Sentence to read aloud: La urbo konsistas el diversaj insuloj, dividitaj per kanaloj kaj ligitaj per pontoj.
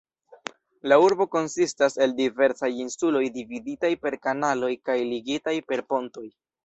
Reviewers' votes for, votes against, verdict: 2, 0, accepted